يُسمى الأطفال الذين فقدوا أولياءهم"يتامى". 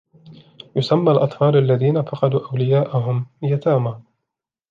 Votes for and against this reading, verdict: 2, 0, accepted